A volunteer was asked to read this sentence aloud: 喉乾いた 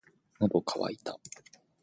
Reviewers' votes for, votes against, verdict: 2, 0, accepted